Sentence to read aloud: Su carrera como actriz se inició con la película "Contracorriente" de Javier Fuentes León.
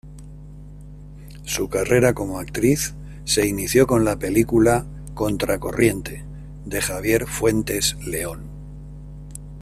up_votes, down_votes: 1, 2